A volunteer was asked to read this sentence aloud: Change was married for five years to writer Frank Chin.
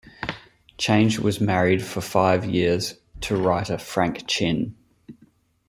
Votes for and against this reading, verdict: 2, 1, accepted